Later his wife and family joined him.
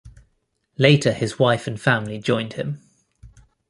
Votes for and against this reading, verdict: 2, 0, accepted